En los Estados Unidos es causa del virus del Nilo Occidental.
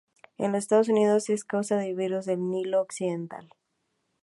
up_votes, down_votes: 0, 2